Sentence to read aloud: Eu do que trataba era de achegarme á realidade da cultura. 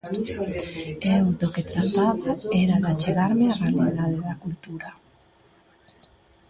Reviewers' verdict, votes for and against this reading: rejected, 1, 2